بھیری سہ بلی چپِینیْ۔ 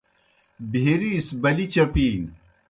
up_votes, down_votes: 2, 0